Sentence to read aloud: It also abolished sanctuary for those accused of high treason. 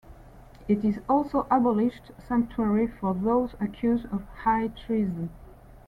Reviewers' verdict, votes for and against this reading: rejected, 0, 2